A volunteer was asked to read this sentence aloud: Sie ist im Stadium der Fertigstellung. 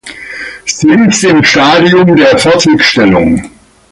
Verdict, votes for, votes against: accepted, 2, 0